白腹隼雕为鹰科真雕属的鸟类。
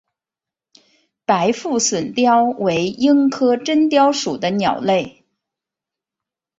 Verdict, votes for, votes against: accepted, 4, 0